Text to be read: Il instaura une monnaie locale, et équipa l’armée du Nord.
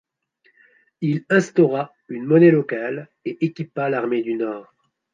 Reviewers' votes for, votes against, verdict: 2, 0, accepted